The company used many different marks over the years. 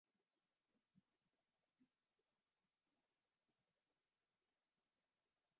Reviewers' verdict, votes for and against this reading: rejected, 0, 2